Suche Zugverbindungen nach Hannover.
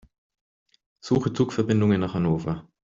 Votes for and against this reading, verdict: 2, 0, accepted